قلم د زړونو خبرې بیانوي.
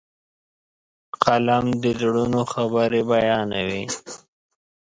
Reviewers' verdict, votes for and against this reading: accepted, 3, 0